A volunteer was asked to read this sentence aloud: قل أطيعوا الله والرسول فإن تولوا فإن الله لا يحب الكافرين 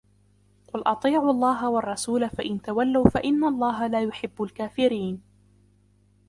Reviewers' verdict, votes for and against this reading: accepted, 2, 0